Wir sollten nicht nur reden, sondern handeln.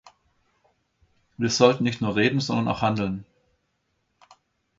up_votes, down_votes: 0, 3